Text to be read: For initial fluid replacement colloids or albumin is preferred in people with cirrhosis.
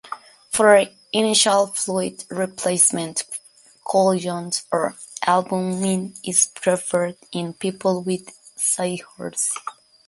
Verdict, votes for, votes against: rejected, 0, 2